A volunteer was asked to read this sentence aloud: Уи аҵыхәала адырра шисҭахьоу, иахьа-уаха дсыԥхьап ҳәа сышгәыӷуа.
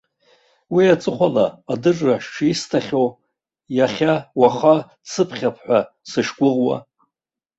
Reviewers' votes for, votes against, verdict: 2, 1, accepted